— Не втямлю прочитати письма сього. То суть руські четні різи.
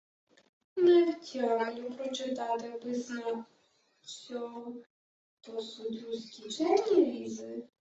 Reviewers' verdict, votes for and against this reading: rejected, 1, 2